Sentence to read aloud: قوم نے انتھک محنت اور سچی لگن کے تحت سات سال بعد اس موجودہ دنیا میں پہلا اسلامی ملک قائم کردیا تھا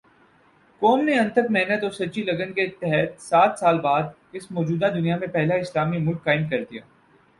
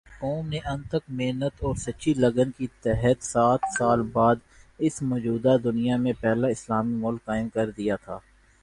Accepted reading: second